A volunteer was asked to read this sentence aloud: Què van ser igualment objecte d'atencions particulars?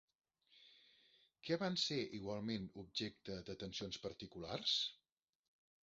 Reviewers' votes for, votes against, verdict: 0, 2, rejected